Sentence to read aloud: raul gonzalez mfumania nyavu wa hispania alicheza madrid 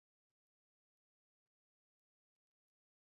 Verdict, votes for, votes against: rejected, 0, 2